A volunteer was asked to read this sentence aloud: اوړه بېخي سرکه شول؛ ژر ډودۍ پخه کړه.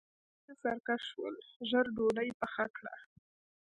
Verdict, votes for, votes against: accepted, 2, 0